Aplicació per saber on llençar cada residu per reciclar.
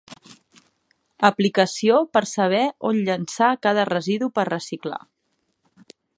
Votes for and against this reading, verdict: 2, 0, accepted